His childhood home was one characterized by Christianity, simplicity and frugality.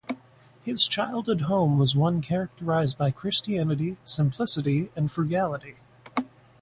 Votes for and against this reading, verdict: 8, 0, accepted